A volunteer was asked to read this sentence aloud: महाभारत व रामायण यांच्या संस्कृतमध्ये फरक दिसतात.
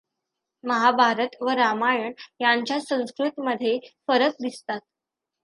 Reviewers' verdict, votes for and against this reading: accepted, 2, 0